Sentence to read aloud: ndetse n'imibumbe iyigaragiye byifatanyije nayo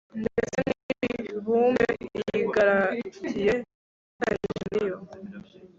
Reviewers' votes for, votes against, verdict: 1, 2, rejected